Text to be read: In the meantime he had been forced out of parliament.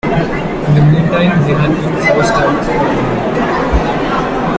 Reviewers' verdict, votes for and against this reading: rejected, 0, 2